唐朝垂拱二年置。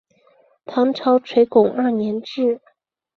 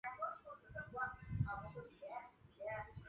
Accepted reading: first